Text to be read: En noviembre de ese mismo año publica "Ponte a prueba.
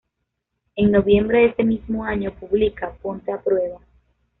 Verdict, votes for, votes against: accepted, 2, 0